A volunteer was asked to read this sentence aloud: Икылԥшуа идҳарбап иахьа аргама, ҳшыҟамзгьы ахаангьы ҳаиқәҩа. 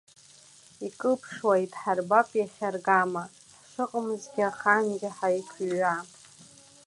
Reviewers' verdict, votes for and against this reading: accepted, 2, 1